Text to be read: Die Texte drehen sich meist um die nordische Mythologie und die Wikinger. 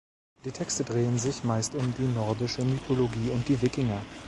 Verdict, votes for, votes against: accepted, 2, 0